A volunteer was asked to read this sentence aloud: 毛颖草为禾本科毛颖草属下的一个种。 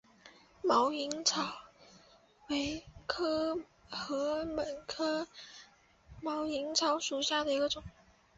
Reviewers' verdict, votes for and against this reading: rejected, 0, 2